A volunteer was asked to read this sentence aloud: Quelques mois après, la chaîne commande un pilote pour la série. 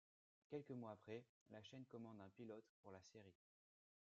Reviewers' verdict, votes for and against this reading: rejected, 1, 2